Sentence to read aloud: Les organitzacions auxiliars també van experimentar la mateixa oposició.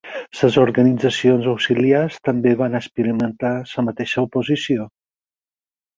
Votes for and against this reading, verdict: 0, 6, rejected